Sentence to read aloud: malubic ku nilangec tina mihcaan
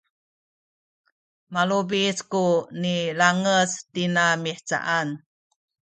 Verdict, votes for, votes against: accepted, 2, 0